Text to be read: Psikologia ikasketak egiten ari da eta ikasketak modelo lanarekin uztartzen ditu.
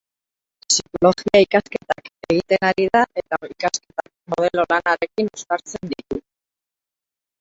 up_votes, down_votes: 0, 6